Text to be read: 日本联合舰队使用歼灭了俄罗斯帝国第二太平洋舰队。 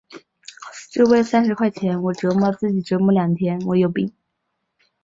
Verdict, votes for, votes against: rejected, 0, 6